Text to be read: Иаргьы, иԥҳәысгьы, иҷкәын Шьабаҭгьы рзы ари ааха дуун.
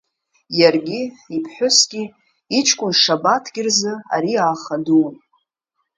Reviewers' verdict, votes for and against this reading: rejected, 1, 2